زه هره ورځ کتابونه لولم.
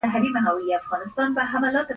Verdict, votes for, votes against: rejected, 0, 2